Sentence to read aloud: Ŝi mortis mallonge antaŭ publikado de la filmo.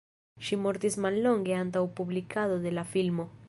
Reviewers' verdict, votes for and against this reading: rejected, 1, 2